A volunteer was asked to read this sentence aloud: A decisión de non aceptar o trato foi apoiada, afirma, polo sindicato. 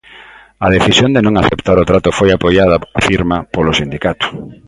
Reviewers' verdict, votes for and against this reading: accepted, 2, 1